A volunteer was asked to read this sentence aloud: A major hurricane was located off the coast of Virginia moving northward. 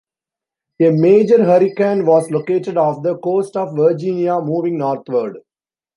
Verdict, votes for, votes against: accepted, 2, 1